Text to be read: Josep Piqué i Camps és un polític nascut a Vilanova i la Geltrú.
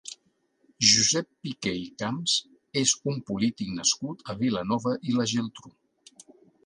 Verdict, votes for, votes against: accepted, 2, 0